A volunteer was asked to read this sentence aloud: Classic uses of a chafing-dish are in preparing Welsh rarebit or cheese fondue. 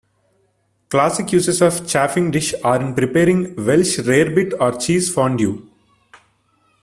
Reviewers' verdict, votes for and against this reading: rejected, 0, 2